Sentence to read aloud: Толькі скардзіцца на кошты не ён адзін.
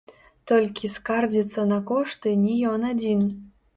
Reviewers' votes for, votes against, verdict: 0, 2, rejected